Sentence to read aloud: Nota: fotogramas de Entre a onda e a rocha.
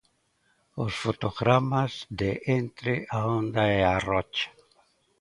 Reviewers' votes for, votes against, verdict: 0, 2, rejected